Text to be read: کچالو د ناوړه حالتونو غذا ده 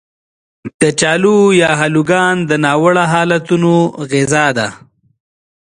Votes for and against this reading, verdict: 2, 3, rejected